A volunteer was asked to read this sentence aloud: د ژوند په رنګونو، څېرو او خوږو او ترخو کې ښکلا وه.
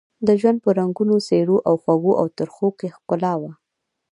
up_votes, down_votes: 0, 2